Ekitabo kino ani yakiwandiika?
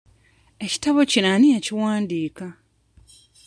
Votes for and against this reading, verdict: 2, 0, accepted